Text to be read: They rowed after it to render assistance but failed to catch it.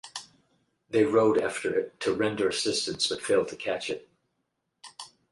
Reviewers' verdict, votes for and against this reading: accepted, 4, 0